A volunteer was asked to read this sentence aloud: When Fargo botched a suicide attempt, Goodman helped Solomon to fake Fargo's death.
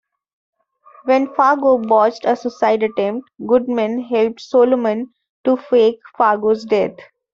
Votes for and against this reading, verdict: 2, 1, accepted